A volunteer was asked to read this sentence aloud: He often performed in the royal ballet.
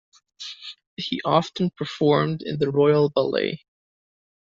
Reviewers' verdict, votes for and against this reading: accepted, 2, 0